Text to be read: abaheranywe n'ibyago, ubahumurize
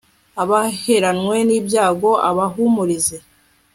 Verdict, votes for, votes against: rejected, 0, 2